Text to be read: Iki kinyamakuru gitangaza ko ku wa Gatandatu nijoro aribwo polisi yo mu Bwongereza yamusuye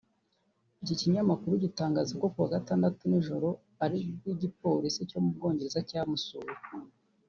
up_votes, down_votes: 2, 3